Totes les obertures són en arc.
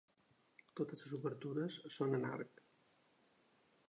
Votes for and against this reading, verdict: 3, 1, accepted